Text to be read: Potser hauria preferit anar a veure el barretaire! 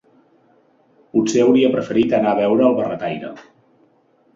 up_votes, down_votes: 2, 0